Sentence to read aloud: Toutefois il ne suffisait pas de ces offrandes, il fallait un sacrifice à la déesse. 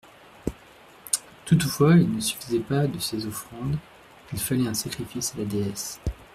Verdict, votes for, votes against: rejected, 0, 2